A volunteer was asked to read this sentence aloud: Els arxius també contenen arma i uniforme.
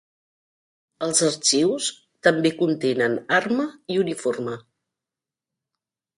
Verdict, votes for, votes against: accepted, 3, 0